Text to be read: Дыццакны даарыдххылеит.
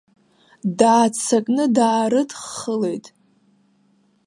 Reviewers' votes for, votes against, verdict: 1, 2, rejected